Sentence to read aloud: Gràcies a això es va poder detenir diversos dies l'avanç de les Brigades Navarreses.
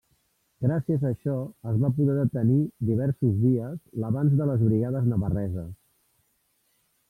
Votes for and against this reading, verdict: 1, 2, rejected